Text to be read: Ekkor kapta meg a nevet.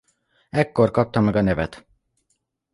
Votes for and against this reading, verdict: 2, 0, accepted